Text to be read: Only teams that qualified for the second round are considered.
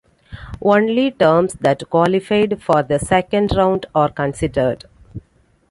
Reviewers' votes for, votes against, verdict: 0, 2, rejected